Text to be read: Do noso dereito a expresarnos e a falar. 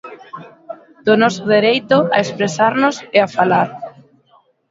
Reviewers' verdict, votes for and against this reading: accepted, 2, 0